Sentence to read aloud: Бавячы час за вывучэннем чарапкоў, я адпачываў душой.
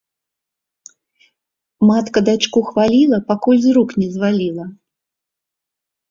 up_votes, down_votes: 0, 2